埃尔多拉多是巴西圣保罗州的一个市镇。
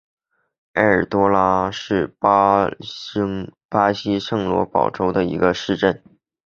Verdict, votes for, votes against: rejected, 1, 2